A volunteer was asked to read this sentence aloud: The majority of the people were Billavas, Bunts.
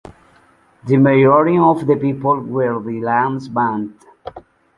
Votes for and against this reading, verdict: 0, 2, rejected